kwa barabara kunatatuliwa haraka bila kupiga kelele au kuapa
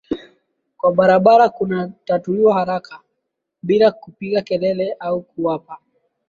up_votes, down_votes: 2, 0